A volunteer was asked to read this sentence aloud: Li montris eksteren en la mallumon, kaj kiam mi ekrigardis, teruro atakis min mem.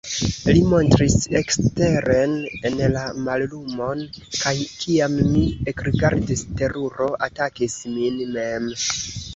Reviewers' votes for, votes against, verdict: 3, 0, accepted